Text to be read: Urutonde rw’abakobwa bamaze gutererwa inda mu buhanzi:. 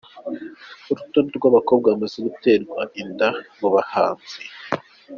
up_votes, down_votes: 1, 2